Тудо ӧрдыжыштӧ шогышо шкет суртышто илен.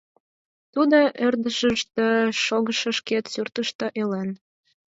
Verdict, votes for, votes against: rejected, 2, 4